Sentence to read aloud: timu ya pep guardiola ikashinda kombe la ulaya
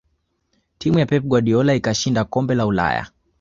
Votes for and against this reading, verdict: 0, 2, rejected